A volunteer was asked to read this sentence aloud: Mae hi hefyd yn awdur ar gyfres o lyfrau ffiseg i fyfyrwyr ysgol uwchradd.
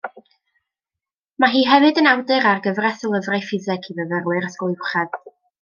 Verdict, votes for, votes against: accepted, 2, 0